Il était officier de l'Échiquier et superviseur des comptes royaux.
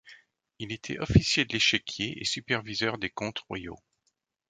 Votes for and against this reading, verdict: 2, 3, rejected